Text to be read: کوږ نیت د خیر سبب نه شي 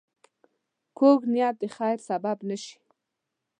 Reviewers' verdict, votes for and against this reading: accepted, 2, 0